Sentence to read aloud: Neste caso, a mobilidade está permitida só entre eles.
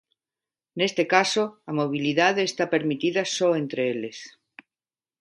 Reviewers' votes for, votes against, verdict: 2, 0, accepted